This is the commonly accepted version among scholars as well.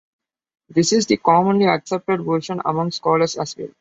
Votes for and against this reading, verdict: 2, 0, accepted